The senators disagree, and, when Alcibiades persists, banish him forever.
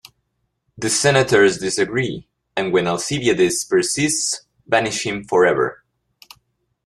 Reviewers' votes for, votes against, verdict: 2, 0, accepted